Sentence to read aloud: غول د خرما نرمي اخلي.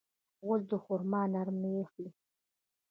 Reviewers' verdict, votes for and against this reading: accepted, 2, 1